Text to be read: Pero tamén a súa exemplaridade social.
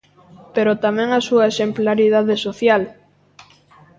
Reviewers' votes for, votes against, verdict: 2, 0, accepted